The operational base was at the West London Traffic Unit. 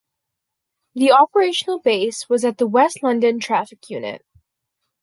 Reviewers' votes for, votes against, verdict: 2, 0, accepted